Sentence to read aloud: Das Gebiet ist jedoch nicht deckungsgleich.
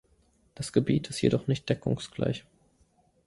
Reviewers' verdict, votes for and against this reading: accepted, 2, 0